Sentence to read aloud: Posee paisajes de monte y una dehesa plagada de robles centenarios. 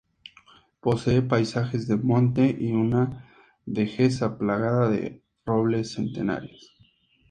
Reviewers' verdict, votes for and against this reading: rejected, 0, 2